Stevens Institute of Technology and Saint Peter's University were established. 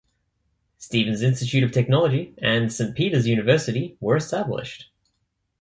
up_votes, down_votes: 2, 0